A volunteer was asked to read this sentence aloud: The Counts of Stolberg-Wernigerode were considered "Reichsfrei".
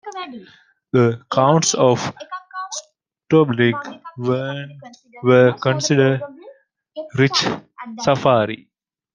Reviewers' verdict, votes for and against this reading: rejected, 0, 2